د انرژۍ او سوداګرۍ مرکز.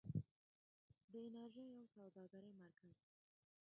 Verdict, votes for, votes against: rejected, 0, 2